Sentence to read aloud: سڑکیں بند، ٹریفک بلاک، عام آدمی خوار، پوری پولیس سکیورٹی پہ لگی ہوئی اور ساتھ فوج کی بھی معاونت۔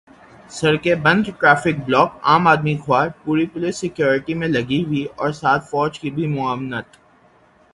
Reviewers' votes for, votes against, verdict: 3, 0, accepted